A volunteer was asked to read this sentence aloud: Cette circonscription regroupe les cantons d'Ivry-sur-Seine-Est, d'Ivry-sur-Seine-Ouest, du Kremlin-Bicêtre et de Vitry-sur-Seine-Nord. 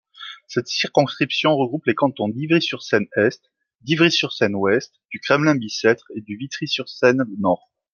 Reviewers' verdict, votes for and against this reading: accepted, 2, 0